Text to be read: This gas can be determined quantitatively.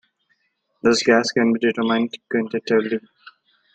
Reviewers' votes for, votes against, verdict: 1, 2, rejected